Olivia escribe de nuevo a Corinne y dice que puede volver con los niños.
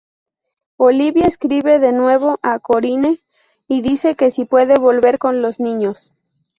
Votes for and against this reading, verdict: 0, 2, rejected